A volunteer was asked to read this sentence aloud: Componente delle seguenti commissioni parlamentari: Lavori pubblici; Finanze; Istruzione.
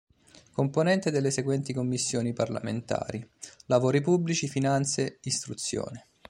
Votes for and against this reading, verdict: 2, 0, accepted